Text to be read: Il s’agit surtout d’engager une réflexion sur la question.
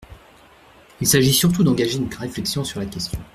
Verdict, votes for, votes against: rejected, 1, 2